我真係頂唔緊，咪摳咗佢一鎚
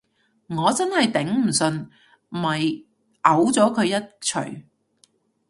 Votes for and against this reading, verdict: 0, 2, rejected